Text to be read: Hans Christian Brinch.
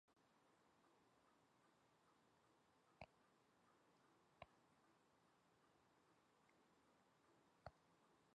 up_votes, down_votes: 1, 3